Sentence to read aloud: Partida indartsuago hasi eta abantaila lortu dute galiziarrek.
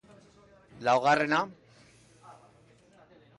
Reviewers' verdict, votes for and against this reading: rejected, 0, 2